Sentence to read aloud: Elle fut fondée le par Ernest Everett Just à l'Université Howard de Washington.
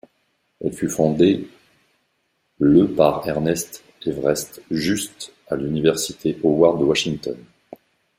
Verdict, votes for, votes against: rejected, 1, 2